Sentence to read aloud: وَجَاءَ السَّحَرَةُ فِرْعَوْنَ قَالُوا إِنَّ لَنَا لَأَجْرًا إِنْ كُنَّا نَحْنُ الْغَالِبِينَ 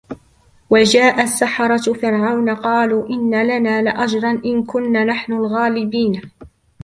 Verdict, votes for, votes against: rejected, 1, 2